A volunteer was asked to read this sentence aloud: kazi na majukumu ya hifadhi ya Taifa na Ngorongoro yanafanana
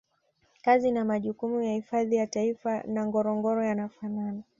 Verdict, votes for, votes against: accepted, 2, 0